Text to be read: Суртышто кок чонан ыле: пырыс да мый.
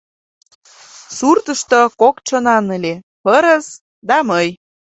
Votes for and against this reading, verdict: 2, 0, accepted